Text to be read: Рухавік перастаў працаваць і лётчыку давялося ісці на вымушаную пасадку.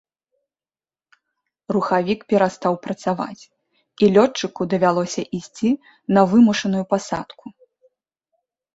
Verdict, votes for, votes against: accepted, 2, 0